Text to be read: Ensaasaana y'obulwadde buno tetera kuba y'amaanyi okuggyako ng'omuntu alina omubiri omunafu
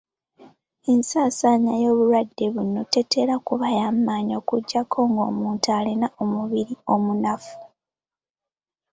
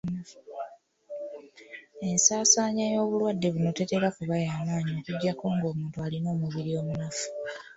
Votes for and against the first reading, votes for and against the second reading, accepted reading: 2, 0, 0, 2, first